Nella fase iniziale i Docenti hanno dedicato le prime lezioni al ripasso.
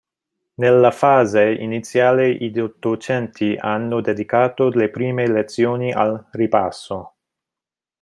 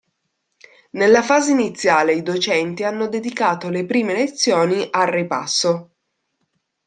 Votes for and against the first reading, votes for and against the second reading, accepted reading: 0, 2, 2, 0, second